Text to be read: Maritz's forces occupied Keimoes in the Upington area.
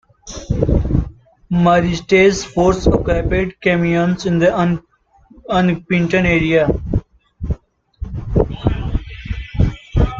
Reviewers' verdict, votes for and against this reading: rejected, 0, 2